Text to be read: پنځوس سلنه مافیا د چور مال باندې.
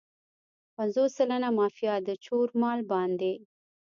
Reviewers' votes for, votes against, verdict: 1, 2, rejected